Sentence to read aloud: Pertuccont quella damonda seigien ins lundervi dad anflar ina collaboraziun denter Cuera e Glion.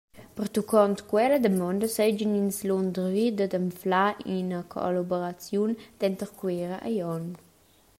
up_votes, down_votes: 2, 0